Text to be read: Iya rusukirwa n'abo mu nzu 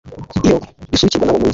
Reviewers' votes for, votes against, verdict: 1, 3, rejected